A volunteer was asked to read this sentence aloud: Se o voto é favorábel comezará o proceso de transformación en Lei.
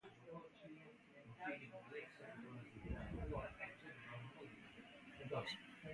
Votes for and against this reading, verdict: 0, 2, rejected